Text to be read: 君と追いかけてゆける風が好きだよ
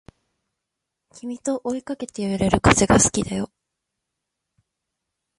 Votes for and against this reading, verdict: 0, 2, rejected